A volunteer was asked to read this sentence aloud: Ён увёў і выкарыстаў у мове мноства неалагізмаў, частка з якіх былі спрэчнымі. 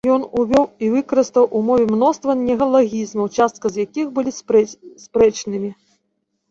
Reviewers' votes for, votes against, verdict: 0, 2, rejected